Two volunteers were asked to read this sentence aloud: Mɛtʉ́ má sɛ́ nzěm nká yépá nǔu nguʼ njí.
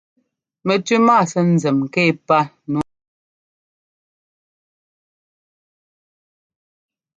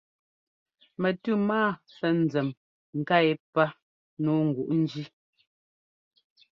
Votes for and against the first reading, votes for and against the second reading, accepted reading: 0, 2, 2, 0, second